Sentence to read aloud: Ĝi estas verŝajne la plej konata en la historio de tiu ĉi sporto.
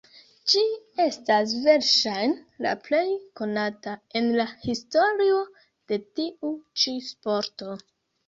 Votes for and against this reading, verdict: 0, 2, rejected